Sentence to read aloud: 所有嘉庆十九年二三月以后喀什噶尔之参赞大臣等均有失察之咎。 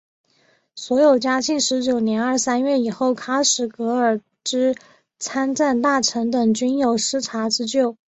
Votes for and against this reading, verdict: 2, 0, accepted